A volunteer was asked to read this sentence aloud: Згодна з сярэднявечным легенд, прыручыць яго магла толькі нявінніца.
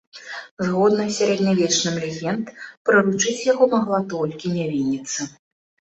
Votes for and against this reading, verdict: 2, 0, accepted